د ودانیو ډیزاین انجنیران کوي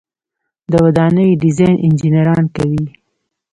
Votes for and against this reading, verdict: 1, 2, rejected